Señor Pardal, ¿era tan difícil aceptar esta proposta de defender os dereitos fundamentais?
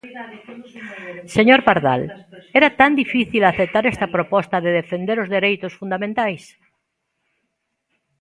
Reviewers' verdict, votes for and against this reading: rejected, 1, 2